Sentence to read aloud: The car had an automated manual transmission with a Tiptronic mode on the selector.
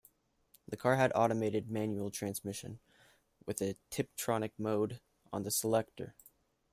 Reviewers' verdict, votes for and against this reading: accepted, 2, 1